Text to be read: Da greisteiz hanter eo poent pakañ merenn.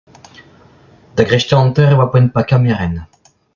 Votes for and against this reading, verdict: 0, 2, rejected